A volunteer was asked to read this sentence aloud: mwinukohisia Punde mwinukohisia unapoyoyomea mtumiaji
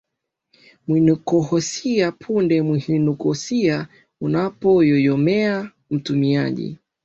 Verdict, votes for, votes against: accepted, 2, 1